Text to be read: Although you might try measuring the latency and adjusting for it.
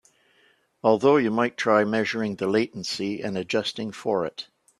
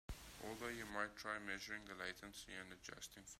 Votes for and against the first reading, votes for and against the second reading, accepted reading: 3, 0, 0, 3, first